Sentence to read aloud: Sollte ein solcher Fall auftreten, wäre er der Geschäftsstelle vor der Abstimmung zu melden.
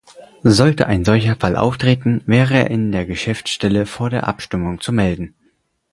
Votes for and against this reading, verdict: 0, 4, rejected